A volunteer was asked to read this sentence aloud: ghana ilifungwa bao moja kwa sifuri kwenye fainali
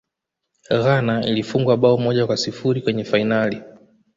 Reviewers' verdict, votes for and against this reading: accepted, 2, 0